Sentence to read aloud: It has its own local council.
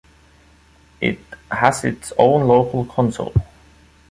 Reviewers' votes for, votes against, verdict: 2, 0, accepted